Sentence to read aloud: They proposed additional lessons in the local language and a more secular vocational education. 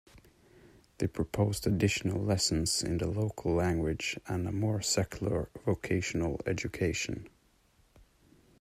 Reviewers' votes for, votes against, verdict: 2, 0, accepted